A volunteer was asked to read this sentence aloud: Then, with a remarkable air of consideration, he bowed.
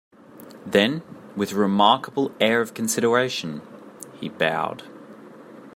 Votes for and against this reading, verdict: 2, 0, accepted